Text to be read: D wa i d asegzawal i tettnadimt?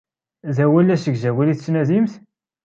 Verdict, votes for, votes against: rejected, 1, 2